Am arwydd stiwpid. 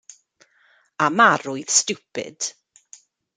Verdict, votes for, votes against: accepted, 2, 0